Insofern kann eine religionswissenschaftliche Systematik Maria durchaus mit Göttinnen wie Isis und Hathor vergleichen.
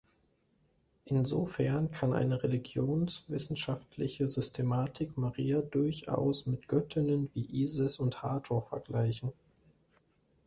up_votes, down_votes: 2, 1